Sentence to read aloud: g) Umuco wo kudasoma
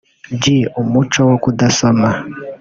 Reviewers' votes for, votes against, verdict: 0, 2, rejected